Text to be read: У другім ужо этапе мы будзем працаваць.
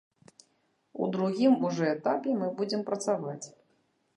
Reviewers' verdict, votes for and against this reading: rejected, 1, 2